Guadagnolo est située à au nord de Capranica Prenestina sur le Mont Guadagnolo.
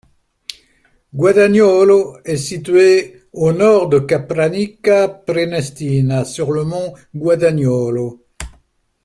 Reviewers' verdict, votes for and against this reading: rejected, 0, 2